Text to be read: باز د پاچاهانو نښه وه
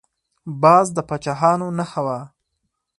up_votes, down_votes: 4, 0